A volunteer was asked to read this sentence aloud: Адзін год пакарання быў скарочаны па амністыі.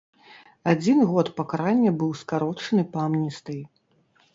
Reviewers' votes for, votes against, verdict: 2, 0, accepted